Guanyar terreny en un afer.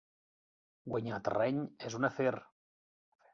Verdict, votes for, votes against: rejected, 0, 2